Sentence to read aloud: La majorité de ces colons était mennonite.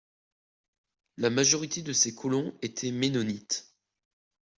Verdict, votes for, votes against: accepted, 2, 0